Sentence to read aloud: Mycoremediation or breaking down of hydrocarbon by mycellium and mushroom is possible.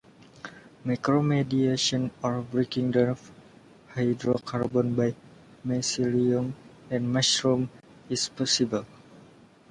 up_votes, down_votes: 1, 2